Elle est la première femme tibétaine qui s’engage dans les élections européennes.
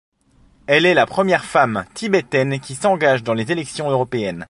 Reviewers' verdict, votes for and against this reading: accepted, 2, 0